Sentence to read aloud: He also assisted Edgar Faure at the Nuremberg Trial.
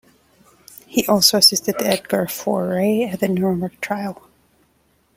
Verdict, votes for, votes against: accepted, 2, 0